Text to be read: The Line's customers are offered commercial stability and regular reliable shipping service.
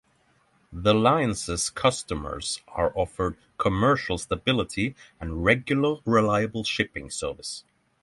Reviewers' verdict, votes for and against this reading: accepted, 3, 0